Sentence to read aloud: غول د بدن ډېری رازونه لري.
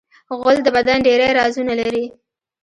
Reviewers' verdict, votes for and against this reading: rejected, 0, 3